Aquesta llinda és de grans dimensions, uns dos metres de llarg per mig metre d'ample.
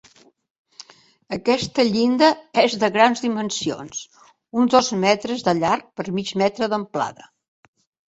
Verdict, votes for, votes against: rejected, 0, 2